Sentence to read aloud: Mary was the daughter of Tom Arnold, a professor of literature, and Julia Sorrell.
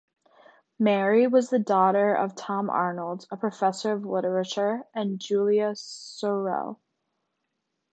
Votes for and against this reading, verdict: 2, 0, accepted